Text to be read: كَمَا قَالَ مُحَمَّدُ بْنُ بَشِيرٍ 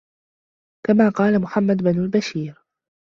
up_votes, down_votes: 0, 2